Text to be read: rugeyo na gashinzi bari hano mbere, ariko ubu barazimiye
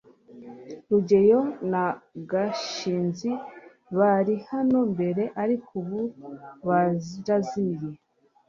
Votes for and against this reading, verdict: 1, 2, rejected